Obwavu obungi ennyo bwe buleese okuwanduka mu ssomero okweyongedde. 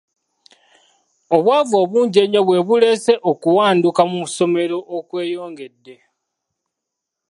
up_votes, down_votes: 2, 0